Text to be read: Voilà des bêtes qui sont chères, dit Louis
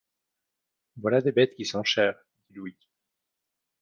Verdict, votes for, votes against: rejected, 1, 2